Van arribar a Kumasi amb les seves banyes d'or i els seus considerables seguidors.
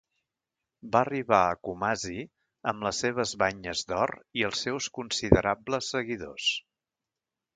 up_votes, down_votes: 1, 2